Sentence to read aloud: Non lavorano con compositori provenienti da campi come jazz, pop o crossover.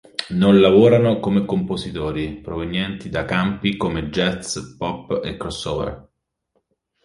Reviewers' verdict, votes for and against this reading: rejected, 0, 2